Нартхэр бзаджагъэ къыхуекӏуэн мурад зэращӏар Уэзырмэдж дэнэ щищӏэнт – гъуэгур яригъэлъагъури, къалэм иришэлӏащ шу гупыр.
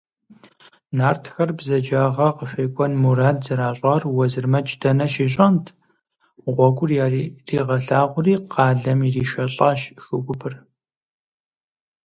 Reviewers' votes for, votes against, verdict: 0, 4, rejected